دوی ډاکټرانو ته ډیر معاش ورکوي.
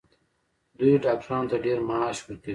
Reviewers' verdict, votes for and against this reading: rejected, 1, 2